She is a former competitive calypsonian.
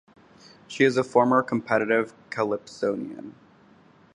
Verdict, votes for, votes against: accepted, 2, 0